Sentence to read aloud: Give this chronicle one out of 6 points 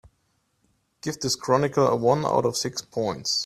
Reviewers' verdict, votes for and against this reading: rejected, 0, 2